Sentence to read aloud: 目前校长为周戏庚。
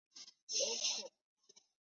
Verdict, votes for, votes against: rejected, 0, 2